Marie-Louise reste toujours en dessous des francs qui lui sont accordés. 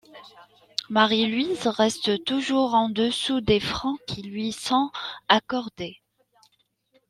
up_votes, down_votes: 2, 1